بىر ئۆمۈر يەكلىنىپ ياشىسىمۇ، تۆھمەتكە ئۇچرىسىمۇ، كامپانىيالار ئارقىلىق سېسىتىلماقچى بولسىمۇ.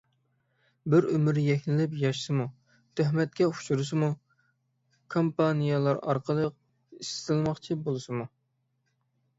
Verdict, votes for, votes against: rejected, 0, 6